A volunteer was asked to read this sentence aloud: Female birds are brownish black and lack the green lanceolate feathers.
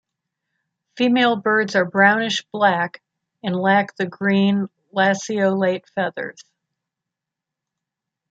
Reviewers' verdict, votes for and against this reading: accepted, 2, 0